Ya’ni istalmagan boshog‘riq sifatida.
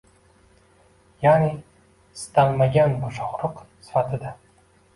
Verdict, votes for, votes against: rejected, 0, 2